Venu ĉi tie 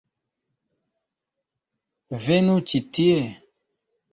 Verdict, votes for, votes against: accepted, 2, 1